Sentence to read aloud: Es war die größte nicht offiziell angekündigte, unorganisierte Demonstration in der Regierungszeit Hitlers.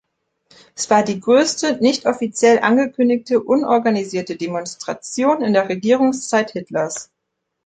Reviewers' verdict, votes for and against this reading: accepted, 2, 0